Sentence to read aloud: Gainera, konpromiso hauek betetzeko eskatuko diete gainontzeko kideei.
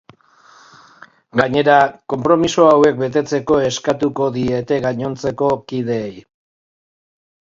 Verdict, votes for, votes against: accepted, 18, 0